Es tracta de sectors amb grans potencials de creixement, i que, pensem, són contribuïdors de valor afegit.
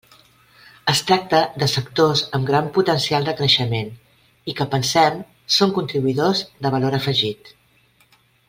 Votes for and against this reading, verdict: 1, 2, rejected